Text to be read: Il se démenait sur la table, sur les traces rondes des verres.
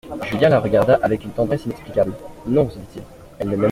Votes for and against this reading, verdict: 0, 2, rejected